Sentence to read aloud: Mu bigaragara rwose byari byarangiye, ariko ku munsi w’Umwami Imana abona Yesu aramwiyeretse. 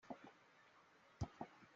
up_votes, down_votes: 0, 2